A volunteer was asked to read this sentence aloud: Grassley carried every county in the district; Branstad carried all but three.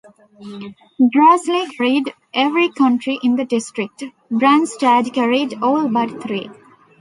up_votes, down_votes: 0, 2